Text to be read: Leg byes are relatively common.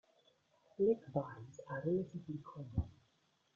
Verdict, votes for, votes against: rejected, 0, 2